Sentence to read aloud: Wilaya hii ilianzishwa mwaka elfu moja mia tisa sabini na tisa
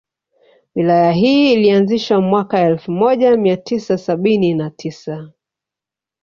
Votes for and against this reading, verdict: 2, 0, accepted